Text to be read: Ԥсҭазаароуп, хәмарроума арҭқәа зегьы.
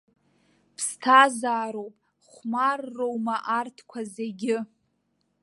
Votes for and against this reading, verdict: 2, 0, accepted